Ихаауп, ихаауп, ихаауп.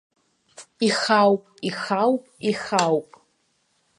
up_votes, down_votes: 0, 2